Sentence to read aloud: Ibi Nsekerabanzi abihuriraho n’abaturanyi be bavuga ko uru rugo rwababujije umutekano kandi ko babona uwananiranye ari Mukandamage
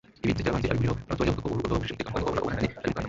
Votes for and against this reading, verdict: 2, 1, accepted